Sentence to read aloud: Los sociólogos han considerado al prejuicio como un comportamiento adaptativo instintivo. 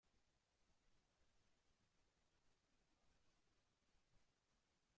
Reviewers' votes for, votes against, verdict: 0, 2, rejected